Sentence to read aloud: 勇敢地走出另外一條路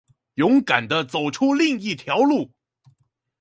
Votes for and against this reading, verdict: 0, 2, rejected